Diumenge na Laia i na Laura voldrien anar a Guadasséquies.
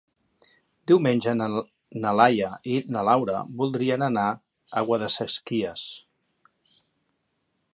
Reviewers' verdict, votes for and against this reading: rejected, 0, 2